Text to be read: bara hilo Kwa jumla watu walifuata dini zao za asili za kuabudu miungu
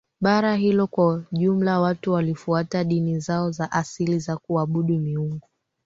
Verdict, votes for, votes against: accepted, 2, 1